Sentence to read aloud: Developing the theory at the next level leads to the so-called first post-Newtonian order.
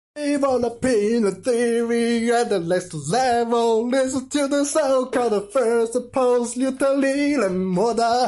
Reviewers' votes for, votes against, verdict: 1, 2, rejected